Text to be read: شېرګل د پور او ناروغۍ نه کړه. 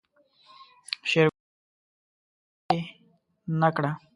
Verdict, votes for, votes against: rejected, 0, 2